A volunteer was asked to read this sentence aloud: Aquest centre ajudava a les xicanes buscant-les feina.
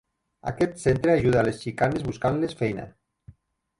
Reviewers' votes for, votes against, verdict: 1, 2, rejected